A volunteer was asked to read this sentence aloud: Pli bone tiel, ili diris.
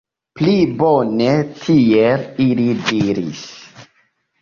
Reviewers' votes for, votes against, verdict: 3, 1, accepted